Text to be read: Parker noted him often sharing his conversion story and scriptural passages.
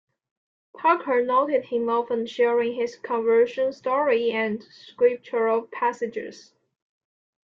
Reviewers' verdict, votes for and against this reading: accepted, 2, 0